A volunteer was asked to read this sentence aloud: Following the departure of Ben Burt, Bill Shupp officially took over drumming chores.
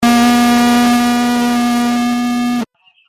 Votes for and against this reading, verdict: 0, 2, rejected